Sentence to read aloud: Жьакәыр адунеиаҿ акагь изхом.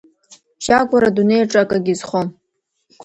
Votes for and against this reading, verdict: 0, 2, rejected